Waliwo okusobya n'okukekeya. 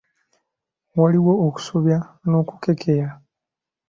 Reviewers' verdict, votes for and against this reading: accepted, 2, 0